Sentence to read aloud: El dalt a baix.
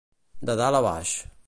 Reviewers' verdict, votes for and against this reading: rejected, 0, 2